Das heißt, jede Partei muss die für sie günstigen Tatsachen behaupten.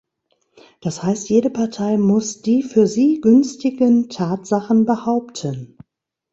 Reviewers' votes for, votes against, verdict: 2, 0, accepted